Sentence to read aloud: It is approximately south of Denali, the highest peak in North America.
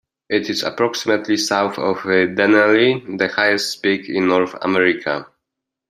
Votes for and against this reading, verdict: 2, 1, accepted